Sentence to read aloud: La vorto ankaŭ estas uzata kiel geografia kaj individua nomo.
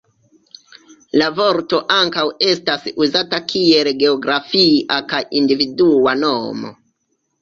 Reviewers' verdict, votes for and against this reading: accepted, 2, 0